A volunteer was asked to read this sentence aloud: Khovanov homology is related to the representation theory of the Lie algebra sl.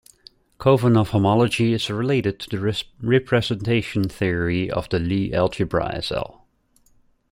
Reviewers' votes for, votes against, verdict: 1, 2, rejected